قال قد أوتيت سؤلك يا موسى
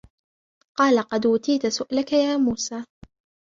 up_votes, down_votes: 1, 2